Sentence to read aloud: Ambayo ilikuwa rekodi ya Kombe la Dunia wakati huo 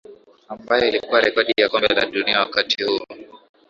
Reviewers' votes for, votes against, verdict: 1, 2, rejected